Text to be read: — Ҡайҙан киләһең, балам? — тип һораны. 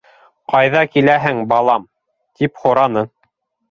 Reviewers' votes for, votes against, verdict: 1, 2, rejected